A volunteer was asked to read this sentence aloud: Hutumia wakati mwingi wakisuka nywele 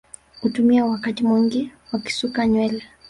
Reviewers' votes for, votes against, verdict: 0, 2, rejected